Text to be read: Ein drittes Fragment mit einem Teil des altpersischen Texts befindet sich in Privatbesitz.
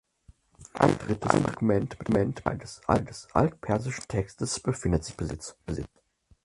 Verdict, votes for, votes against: rejected, 0, 4